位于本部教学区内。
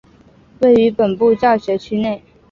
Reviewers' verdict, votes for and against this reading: rejected, 0, 2